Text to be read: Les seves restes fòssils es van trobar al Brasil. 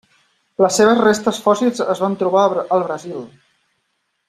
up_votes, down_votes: 3, 0